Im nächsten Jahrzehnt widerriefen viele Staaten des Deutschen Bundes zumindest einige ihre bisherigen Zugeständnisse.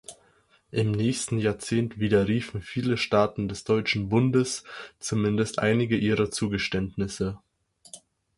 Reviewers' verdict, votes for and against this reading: rejected, 2, 4